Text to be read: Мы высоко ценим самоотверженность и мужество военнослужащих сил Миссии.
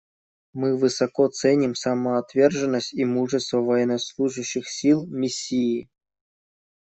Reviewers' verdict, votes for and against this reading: accepted, 2, 0